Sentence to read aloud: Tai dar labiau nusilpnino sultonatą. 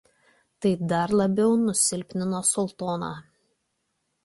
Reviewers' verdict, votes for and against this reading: rejected, 0, 2